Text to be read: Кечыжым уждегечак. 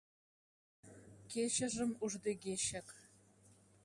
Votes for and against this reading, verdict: 1, 2, rejected